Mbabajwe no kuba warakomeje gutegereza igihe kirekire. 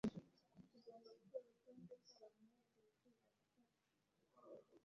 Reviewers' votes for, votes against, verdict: 0, 2, rejected